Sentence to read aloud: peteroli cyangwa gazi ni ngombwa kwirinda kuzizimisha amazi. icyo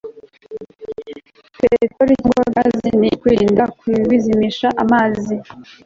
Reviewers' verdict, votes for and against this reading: rejected, 1, 2